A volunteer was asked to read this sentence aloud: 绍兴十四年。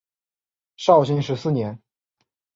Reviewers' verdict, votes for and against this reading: accepted, 3, 0